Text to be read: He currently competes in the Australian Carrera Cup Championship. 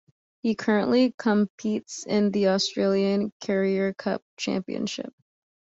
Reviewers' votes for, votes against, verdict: 2, 0, accepted